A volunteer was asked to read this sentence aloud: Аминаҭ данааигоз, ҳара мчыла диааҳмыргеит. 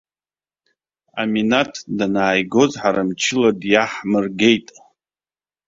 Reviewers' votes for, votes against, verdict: 0, 2, rejected